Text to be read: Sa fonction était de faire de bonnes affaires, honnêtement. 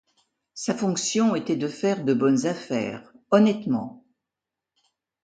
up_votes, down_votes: 2, 0